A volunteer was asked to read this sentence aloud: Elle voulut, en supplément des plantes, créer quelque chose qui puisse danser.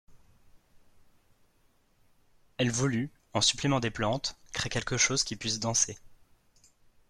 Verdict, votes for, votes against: accepted, 2, 0